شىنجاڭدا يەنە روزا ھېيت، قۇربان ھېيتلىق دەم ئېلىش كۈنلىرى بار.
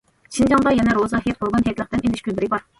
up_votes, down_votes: 1, 2